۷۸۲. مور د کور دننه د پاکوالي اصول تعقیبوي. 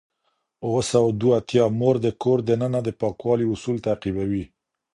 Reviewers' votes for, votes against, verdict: 0, 2, rejected